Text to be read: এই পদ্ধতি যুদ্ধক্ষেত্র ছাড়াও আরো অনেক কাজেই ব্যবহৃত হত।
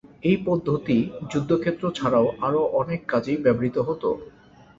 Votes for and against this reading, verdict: 2, 0, accepted